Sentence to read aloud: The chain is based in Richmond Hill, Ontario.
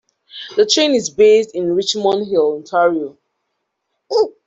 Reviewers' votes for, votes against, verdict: 1, 2, rejected